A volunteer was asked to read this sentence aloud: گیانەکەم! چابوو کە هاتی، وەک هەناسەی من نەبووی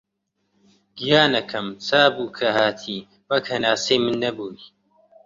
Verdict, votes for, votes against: rejected, 1, 2